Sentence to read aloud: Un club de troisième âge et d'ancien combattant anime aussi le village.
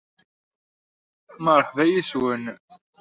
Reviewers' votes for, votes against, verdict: 0, 2, rejected